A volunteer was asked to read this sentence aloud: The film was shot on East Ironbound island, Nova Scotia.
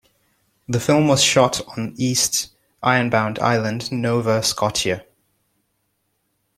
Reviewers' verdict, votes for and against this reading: rejected, 1, 2